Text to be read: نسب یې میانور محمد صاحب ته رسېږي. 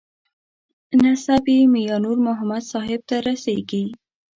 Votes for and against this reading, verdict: 2, 0, accepted